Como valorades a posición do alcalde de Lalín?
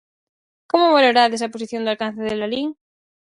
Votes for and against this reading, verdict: 0, 4, rejected